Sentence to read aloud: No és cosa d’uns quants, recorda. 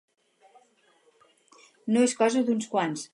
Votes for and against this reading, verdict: 0, 4, rejected